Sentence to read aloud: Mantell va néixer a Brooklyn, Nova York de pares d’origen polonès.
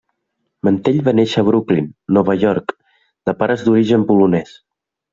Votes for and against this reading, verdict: 3, 0, accepted